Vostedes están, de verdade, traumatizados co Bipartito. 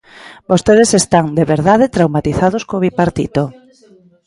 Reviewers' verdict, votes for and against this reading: rejected, 0, 2